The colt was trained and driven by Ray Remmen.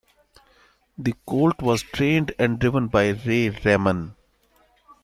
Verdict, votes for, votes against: rejected, 1, 2